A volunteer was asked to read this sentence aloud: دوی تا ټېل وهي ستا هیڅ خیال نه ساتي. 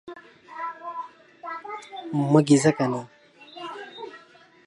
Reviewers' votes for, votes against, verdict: 1, 3, rejected